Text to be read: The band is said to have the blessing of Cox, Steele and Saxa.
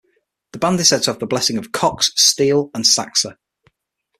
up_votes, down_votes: 6, 0